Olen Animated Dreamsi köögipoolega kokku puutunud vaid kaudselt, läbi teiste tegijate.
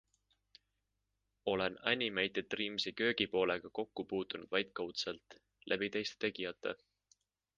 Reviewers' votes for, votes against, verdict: 3, 0, accepted